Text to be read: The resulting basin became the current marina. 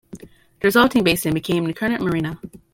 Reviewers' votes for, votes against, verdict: 0, 2, rejected